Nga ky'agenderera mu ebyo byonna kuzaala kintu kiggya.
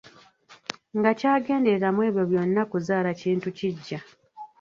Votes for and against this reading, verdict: 0, 2, rejected